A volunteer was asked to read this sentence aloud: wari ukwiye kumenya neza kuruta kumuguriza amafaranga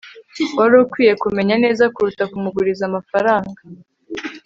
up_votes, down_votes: 4, 0